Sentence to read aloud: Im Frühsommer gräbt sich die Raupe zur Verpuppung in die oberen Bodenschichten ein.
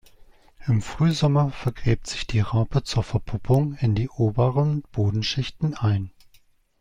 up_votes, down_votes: 0, 2